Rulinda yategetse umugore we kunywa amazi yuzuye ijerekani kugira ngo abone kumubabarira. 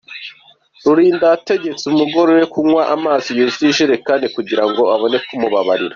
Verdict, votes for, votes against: accepted, 2, 1